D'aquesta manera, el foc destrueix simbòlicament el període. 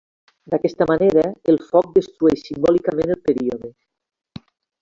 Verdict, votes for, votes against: rejected, 0, 2